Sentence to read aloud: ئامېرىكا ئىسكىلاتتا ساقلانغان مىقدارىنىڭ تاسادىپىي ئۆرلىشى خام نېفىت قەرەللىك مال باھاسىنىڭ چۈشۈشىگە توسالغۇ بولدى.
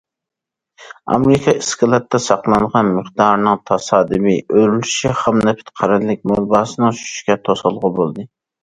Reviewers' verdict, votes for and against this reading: rejected, 1, 2